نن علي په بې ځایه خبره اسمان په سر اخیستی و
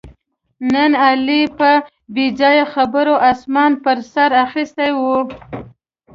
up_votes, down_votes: 2, 0